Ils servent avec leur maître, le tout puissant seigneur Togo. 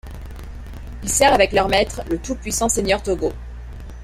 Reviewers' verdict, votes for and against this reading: rejected, 1, 2